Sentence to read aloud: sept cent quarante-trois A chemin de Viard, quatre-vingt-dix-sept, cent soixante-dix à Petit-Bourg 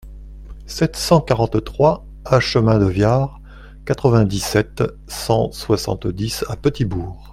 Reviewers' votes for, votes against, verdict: 2, 0, accepted